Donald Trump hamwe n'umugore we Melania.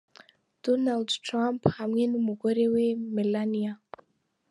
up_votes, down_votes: 4, 0